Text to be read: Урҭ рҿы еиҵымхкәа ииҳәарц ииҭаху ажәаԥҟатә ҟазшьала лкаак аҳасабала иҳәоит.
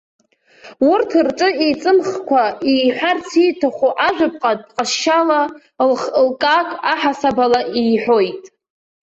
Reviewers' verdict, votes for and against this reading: rejected, 0, 2